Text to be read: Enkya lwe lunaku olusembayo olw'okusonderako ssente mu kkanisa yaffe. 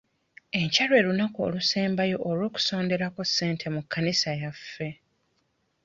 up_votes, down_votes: 2, 1